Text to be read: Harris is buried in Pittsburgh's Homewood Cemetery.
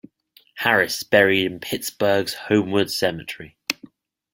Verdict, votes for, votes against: accepted, 2, 0